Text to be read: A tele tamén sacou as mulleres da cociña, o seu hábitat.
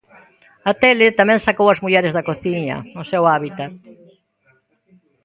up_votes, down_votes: 2, 1